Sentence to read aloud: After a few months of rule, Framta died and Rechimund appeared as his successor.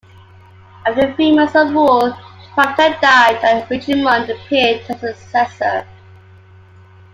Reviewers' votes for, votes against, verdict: 2, 1, accepted